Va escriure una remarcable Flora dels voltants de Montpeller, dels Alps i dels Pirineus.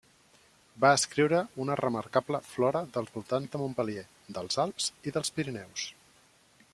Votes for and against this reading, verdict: 0, 2, rejected